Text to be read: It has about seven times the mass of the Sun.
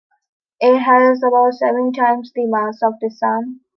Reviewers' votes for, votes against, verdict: 2, 0, accepted